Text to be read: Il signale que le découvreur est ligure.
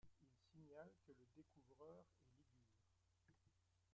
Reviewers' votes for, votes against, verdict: 0, 2, rejected